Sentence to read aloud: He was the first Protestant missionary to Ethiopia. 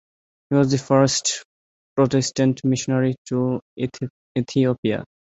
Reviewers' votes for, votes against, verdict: 0, 2, rejected